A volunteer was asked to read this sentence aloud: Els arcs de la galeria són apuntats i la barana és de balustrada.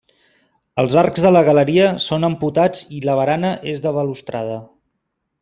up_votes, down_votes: 0, 2